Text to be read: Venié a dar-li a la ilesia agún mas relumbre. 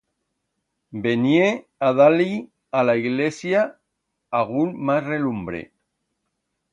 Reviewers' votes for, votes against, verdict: 1, 2, rejected